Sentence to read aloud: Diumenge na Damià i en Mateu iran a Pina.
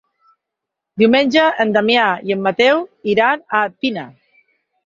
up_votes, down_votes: 4, 2